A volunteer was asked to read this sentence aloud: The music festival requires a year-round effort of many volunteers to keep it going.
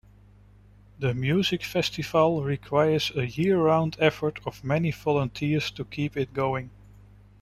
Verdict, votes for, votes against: accepted, 2, 1